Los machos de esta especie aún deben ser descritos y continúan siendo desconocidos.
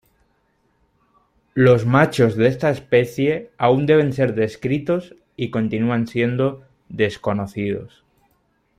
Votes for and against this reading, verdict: 2, 0, accepted